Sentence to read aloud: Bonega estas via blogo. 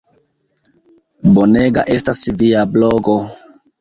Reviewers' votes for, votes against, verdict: 1, 2, rejected